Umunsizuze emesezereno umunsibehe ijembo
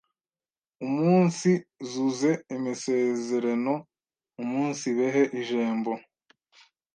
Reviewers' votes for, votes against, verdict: 1, 2, rejected